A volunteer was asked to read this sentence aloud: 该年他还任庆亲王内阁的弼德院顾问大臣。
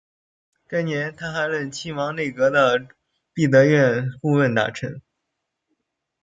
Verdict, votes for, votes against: rejected, 0, 2